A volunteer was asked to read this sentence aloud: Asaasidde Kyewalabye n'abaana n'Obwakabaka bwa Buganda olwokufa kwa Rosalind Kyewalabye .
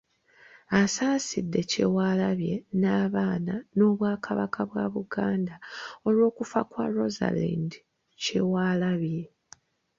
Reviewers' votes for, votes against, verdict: 2, 0, accepted